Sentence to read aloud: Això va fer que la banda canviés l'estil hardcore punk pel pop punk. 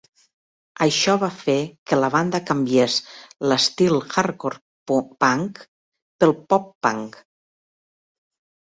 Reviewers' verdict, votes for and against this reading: rejected, 0, 2